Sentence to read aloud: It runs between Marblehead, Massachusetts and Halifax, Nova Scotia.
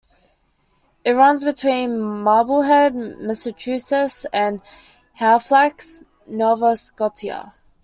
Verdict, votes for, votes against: accepted, 2, 1